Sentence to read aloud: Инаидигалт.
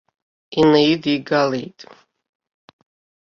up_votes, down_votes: 2, 0